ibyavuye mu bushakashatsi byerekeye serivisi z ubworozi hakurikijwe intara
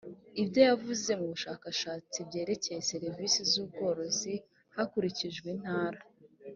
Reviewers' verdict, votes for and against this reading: rejected, 0, 2